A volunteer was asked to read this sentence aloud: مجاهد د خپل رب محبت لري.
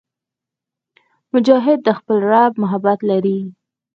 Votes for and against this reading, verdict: 4, 0, accepted